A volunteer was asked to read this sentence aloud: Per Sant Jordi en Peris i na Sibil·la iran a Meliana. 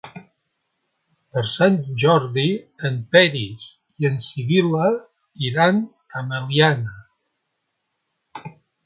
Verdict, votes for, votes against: rejected, 1, 2